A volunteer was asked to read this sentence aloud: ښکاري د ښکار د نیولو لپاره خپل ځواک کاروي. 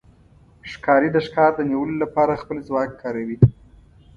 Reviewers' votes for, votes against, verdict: 2, 0, accepted